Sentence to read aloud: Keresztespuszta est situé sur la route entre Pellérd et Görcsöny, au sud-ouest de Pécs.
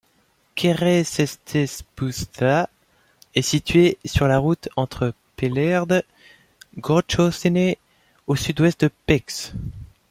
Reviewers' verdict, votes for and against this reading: rejected, 1, 2